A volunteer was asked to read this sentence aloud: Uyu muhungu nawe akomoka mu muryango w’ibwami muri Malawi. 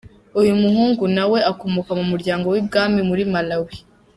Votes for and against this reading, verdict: 2, 0, accepted